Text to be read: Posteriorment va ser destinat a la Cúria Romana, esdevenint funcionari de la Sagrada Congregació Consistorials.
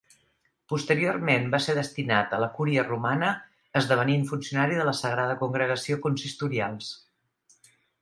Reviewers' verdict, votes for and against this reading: accepted, 3, 0